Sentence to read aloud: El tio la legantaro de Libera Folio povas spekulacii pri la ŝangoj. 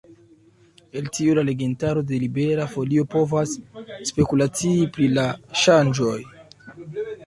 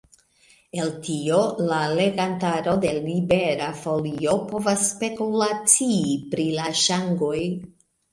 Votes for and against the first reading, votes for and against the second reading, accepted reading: 1, 2, 2, 0, second